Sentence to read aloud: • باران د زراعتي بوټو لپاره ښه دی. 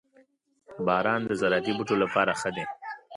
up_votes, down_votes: 2, 0